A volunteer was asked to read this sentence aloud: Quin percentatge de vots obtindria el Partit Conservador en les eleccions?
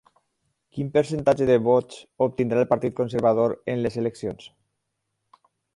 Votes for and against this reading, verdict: 0, 4, rejected